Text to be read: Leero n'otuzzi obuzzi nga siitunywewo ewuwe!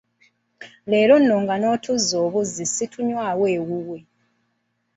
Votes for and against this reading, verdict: 1, 2, rejected